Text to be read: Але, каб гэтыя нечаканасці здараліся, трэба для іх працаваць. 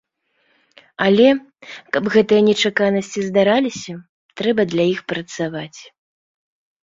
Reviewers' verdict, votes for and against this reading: accepted, 2, 0